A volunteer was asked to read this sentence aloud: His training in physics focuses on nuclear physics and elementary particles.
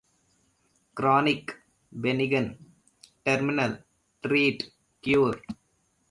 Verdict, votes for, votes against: rejected, 0, 2